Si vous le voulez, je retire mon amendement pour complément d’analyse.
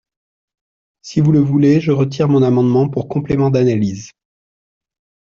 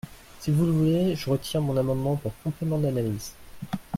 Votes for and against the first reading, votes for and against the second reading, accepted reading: 2, 0, 1, 2, first